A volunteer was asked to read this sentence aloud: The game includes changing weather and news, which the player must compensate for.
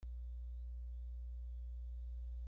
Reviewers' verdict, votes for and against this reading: rejected, 0, 3